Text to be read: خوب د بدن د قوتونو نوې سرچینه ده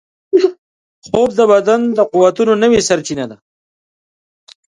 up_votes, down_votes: 5, 3